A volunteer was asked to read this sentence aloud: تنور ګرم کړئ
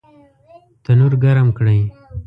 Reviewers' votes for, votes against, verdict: 1, 2, rejected